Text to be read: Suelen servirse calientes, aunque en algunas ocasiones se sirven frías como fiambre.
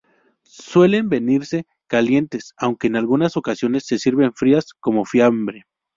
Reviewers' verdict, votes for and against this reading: rejected, 2, 2